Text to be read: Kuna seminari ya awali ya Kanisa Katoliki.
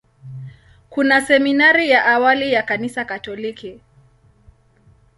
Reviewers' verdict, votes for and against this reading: accepted, 2, 0